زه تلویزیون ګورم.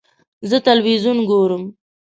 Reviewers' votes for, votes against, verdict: 2, 0, accepted